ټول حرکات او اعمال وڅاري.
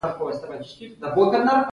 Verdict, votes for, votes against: accepted, 2, 0